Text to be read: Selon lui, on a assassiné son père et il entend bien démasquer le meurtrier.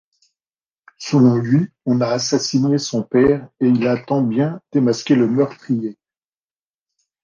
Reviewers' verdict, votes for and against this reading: rejected, 0, 2